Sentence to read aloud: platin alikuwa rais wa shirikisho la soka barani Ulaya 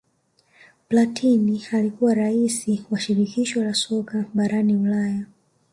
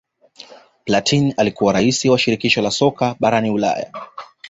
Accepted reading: second